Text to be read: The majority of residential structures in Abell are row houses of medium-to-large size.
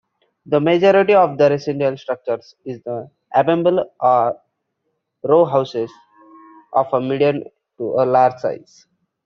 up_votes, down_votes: 0, 2